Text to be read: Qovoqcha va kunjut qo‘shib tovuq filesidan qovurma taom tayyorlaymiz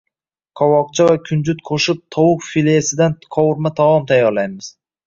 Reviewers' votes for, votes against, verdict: 2, 0, accepted